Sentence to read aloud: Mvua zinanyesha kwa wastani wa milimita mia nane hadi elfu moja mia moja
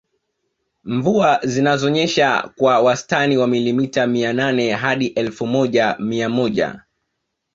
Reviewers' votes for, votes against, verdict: 0, 2, rejected